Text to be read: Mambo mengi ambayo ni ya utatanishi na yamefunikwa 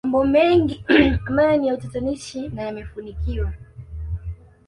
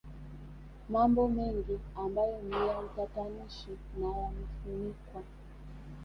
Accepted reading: second